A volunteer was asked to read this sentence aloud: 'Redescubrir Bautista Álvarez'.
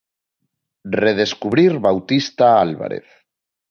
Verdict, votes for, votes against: accepted, 2, 0